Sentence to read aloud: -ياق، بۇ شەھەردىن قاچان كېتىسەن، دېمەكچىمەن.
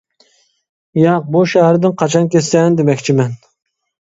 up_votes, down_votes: 1, 2